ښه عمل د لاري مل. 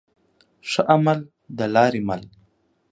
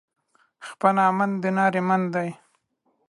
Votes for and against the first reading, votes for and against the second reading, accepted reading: 2, 0, 0, 2, first